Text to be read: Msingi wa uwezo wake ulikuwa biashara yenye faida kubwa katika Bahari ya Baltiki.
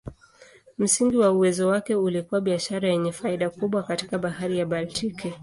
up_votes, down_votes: 2, 0